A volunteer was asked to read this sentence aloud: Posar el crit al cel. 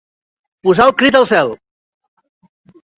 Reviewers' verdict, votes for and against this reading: accepted, 2, 0